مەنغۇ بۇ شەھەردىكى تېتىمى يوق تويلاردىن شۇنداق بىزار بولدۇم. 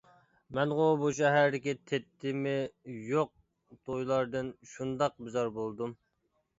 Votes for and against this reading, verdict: 0, 2, rejected